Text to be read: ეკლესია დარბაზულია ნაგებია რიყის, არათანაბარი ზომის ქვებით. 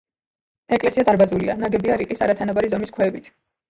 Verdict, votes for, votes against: accepted, 3, 1